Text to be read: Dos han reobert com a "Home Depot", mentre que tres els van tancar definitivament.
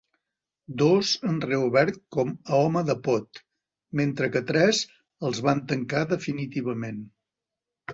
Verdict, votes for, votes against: rejected, 1, 2